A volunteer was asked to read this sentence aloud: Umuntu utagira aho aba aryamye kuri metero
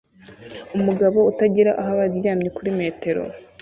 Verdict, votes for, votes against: rejected, 1, 2